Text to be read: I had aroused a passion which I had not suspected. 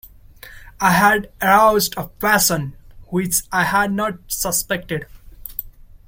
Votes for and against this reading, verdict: 1, 2, rejected